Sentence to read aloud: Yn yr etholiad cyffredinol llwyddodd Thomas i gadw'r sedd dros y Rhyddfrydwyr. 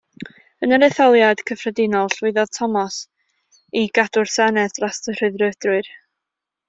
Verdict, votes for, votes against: rejected, 1, 2